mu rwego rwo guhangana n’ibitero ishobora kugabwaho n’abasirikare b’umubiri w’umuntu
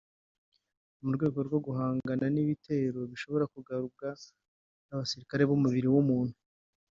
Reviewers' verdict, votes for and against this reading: rejected, 0, 2